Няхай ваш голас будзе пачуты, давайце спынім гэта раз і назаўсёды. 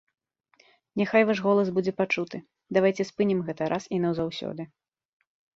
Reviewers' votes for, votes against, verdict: 2, 0, accepted